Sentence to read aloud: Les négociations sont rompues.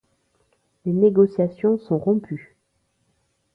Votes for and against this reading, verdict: 2, 0, accepted